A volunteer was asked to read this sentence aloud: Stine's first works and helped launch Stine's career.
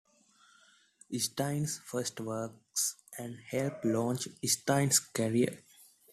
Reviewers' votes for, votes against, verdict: 2, 1, accepted